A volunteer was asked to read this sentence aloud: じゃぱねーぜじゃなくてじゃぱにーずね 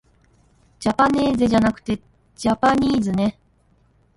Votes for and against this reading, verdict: 1, 2, rejected